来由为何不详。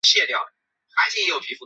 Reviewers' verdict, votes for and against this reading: rejected, 2, 9